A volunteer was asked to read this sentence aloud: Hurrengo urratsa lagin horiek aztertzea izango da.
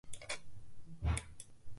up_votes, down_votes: 0, 3